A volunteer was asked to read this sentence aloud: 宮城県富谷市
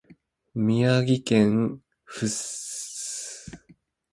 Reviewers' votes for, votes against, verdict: 0, 2, rejected